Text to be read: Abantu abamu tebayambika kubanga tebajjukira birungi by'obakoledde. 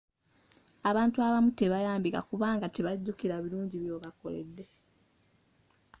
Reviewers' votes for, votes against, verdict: 2, 0, accepted